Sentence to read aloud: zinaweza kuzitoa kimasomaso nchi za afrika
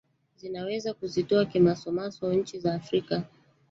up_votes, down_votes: 0, 2